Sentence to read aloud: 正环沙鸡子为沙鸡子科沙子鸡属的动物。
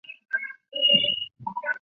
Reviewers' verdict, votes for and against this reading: rejected, 0, 2